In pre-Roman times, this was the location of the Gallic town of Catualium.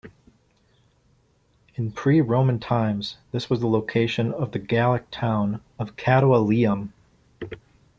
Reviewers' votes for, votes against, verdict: 2, 0, accepted